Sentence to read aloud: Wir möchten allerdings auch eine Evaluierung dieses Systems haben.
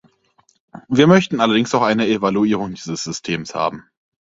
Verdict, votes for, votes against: accepted, 4, 0